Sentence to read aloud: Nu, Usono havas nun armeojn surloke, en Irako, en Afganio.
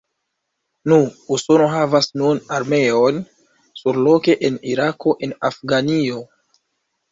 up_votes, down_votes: 2, 1